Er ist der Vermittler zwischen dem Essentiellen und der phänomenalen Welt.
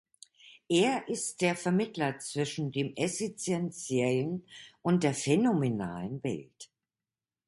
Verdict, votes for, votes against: rejected, 2, 3